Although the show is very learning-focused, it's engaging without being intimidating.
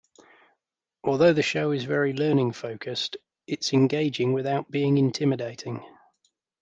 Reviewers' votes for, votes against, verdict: 2, 0, accepted